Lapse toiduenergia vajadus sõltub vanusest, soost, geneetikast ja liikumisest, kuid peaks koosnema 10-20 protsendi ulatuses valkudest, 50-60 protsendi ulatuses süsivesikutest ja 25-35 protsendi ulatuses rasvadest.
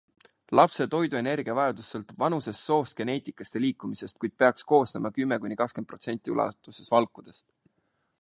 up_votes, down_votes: 0, 2